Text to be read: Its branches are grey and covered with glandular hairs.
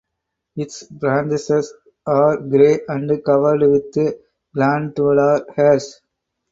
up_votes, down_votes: 0, 4